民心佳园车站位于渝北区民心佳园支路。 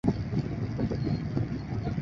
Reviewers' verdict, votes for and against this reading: rejected, 0, 2